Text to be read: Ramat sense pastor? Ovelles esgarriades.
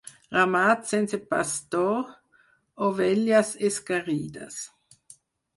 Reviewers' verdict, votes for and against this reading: rejected, 2, 4